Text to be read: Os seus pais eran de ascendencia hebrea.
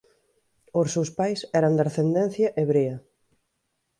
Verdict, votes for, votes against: rejected, 1, 2